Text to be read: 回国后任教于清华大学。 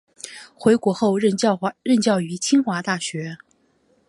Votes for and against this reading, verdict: 1, 2, rejected